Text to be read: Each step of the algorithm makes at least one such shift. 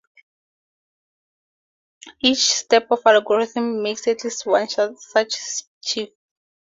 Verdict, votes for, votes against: rejected, 0, 2